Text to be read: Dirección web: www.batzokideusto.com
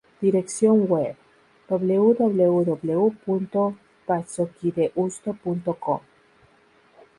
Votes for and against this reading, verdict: 2, 2, rejected